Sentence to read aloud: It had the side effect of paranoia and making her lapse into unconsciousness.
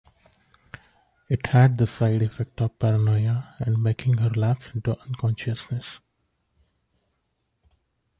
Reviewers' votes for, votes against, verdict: 2, 0, accepted